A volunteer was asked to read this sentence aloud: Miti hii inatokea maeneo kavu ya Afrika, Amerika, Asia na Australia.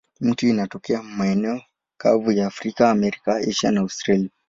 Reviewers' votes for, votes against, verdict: 2, 0, accepted